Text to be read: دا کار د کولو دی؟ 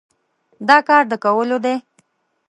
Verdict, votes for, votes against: accepted, 2, 0